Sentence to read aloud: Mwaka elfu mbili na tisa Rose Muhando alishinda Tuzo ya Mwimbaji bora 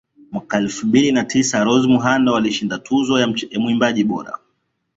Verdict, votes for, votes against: accepted, 2, 1